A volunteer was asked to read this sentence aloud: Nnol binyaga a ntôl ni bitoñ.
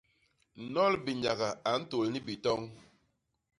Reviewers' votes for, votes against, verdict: 2, 0, accepted